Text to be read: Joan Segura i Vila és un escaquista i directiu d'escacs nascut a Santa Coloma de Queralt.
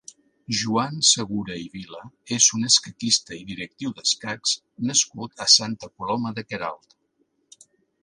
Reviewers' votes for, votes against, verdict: 2, 1, accepted